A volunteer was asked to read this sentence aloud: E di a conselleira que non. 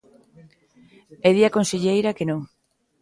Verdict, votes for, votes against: accepted, 2, 0